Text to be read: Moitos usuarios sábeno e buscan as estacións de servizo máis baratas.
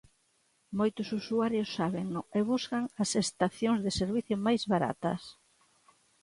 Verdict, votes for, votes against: rejected, 0, 2